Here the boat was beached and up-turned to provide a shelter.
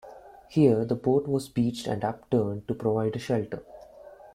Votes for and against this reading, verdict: 2, 0, accepted